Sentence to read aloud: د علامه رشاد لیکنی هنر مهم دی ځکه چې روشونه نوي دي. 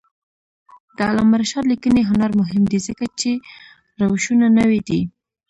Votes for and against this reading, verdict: 1, 2, rejected